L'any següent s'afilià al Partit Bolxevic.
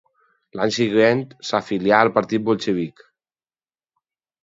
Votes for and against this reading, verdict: 2, 2, rejected